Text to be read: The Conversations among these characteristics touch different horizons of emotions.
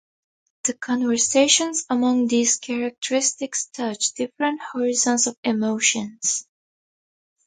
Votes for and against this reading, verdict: 0, 2, rejected